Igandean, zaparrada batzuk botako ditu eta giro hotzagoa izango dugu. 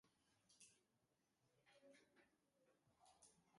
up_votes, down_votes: 0, 2